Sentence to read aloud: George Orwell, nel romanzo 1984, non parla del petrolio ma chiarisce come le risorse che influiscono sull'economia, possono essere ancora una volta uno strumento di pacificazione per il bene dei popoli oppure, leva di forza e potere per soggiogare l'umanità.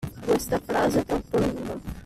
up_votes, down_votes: 0, 2